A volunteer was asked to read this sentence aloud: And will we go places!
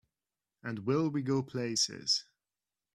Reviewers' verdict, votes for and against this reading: accepted, 2, 0